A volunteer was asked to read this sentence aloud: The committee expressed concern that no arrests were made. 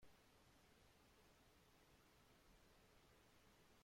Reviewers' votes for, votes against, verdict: 0, 2, rejected